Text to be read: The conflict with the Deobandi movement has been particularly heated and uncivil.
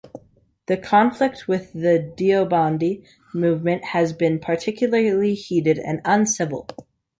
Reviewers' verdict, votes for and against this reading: rejected, 2, 3